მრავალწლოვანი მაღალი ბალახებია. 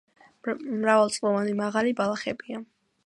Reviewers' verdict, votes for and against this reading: accepted, 2, 0